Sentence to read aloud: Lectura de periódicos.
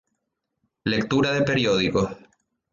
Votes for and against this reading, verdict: 2, 0, accepted